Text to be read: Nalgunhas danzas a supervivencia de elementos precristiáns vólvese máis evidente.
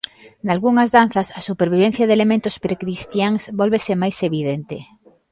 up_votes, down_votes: 0, 2